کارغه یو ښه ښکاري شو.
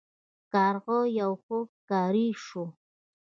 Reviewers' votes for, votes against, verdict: 2, 0, accepted